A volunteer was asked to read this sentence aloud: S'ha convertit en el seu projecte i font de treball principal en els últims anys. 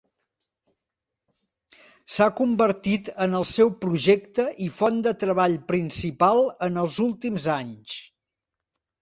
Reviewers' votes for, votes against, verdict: 2, 0, accepted